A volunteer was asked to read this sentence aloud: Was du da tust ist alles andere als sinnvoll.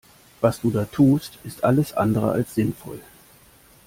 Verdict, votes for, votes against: accepted, 2, 0